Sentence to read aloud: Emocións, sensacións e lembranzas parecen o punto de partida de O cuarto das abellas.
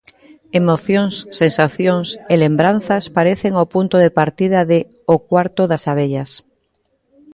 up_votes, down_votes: 2, 0